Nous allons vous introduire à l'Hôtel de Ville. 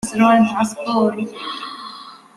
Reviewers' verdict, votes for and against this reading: rejected, 0, 2